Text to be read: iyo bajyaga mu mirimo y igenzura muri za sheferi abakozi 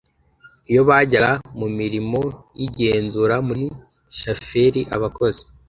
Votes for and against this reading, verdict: 0, 2, rejected